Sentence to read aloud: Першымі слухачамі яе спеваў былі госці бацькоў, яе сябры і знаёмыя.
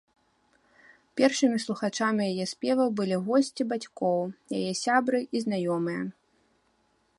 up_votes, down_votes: 0, 2